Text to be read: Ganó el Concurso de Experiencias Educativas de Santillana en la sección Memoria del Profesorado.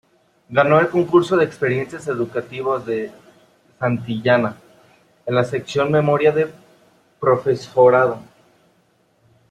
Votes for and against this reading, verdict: 0, 3, rejected